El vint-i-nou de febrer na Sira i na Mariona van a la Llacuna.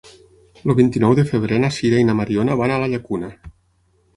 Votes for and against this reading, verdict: 0, 6, rejected